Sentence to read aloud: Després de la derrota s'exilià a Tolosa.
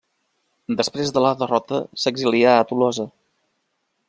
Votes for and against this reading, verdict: 2, 0, accepted